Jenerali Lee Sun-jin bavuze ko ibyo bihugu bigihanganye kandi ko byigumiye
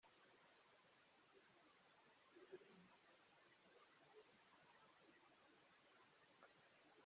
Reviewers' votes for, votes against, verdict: 0, 2, rejected